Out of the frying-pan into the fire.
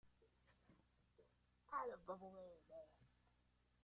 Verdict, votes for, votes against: rejected, 0, 2